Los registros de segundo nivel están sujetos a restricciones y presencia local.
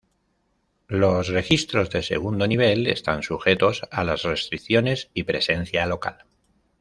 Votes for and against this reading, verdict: 1, 2, rejected